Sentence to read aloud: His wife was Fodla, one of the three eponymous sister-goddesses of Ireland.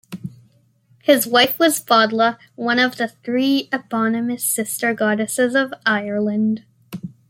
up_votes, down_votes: 0, 2